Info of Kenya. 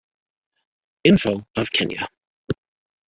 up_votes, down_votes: 2, 1